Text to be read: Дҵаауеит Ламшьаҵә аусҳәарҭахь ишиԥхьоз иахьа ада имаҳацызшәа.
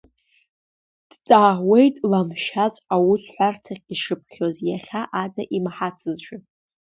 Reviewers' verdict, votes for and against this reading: rejected, 0, 2